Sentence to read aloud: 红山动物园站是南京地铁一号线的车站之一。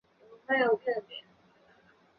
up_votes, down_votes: 1, 2